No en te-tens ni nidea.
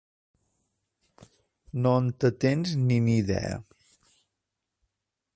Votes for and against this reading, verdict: 2, 0, accepted